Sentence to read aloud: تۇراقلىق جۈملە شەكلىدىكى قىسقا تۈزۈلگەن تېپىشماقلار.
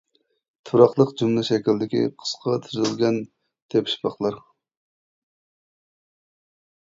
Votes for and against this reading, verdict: 0, 2, rejected